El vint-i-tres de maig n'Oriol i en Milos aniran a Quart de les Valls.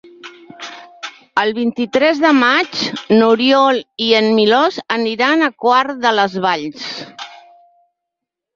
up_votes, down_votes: 1, 2